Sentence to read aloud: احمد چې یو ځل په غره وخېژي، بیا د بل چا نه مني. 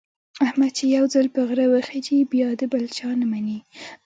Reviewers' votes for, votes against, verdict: 1, 2, rejected